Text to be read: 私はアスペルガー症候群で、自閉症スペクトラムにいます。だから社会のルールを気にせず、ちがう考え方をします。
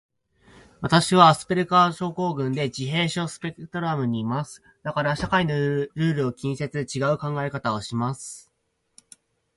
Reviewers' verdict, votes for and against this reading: rejected, 2, 4